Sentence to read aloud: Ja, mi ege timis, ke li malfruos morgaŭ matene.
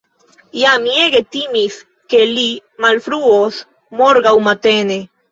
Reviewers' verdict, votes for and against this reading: rejected, 0, 2